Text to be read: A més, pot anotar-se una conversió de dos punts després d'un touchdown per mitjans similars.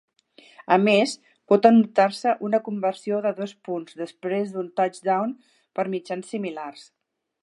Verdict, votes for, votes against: accepted, 3, 0